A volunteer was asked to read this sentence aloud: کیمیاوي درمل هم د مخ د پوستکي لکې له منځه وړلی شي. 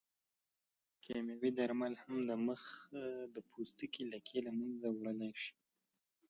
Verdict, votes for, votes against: accepted, 2, 0